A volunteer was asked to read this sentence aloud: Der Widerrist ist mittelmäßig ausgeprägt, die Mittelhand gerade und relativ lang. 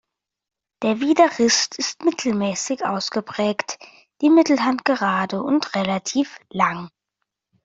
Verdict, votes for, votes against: accepted, 2, 0